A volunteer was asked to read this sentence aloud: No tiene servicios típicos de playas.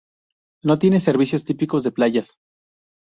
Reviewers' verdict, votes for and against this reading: accepted, 2, 0